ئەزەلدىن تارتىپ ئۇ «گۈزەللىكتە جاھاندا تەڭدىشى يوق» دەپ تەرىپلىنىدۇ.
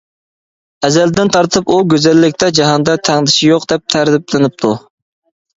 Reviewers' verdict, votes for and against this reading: rejected, 1, 2